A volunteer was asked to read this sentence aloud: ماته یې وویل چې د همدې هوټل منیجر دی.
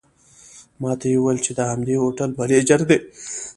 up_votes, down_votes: 0, 2